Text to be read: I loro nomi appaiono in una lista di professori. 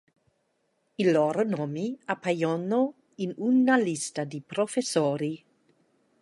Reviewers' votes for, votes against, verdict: 1, 2, rejected